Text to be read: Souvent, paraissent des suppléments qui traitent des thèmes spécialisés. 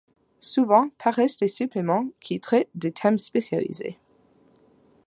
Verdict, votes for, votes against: accepted, 2, 1